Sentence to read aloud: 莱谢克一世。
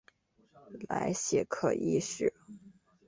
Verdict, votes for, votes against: accepted, 2, 0